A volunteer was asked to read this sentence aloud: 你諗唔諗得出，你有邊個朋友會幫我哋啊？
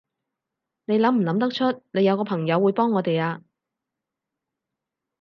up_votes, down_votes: 4, 4